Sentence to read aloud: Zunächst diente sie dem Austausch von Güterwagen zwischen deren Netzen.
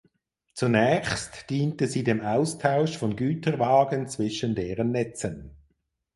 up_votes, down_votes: 4, 0